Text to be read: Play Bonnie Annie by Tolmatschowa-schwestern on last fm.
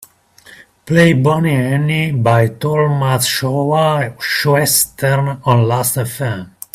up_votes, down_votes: 2, 0